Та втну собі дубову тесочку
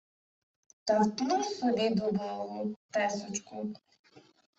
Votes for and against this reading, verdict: 1, 2, rejected